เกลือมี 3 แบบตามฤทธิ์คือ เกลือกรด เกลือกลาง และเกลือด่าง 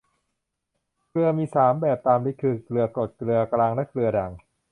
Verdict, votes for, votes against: rejected, 0, 2